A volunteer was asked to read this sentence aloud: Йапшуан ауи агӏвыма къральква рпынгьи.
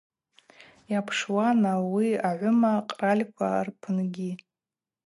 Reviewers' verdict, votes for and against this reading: accepted, 2, 0